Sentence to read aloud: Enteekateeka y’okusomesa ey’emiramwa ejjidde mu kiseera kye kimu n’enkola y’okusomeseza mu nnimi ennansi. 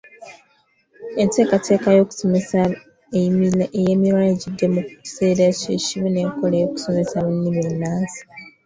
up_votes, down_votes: 0, 2